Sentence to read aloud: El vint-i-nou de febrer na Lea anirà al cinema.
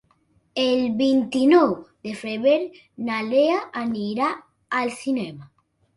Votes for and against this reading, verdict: 0, 2, rejected